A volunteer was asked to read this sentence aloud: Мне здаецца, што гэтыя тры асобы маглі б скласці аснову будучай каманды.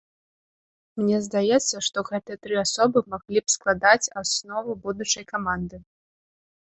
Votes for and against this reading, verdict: 1, 2, rejected